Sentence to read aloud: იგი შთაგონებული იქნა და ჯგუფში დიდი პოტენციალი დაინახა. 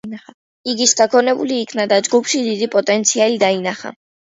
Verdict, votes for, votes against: accepted, 2, 0